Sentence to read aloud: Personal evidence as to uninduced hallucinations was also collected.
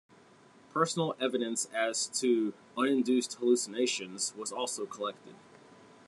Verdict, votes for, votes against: accepted, 2, 0